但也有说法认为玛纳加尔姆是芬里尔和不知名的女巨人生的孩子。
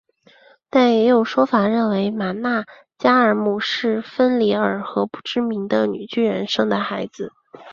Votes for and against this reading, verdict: 2, 0, accepted